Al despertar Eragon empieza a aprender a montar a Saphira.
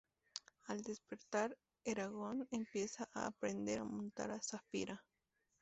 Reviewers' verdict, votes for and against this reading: rejected, 0, 2